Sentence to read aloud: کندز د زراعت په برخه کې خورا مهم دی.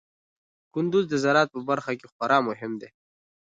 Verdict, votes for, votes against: accepted, 3, 1